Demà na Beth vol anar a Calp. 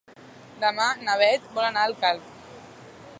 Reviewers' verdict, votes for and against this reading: rejected, 1, 2